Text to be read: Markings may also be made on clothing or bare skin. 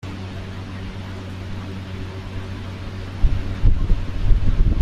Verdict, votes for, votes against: rejected, 0, 2